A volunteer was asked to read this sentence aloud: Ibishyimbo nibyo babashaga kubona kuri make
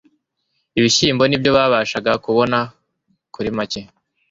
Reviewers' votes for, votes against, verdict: 2, 0, accepted